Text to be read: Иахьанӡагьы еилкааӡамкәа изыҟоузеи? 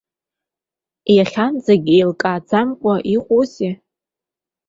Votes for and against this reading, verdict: 0, 2, rejected